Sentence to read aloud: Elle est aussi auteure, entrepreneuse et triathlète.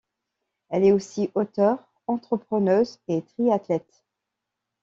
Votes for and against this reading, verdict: 2, 0, accepted